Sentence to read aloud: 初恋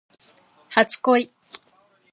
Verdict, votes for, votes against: accepted, 2, 0